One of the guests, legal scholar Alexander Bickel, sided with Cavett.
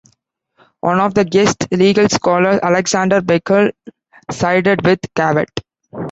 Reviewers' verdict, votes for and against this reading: accepted, 2, 1